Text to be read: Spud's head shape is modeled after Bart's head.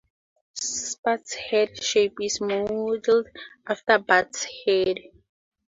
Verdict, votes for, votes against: rejected, 2, 4